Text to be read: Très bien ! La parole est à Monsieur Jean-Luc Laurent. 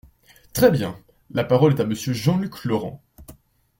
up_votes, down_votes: 2, 1